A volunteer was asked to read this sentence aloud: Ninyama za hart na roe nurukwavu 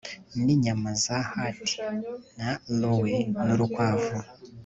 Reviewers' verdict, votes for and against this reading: accepted, 2, 0